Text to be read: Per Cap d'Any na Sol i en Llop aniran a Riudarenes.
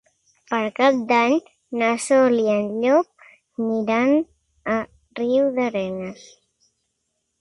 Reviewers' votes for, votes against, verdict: 1, 2, rejected